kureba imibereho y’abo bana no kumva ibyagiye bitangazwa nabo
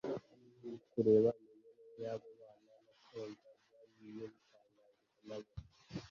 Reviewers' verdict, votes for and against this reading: rejected, 1, 2